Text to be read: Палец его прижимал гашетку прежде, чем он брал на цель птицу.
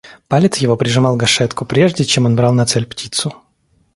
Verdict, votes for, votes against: accepted, 2, 0